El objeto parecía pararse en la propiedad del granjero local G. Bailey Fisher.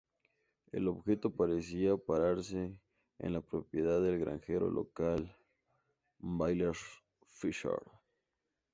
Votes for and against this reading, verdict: 0, 2, rejected